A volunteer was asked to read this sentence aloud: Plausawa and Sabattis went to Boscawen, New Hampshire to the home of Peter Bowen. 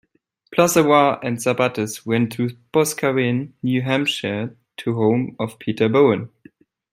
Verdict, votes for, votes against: accepted, 2, 1